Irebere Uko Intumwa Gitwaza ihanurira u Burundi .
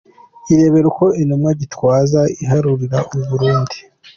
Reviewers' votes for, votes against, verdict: 1, 2, rejected